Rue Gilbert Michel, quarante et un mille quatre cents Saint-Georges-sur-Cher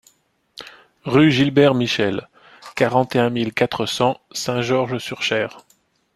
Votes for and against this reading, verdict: 2, 0, accepted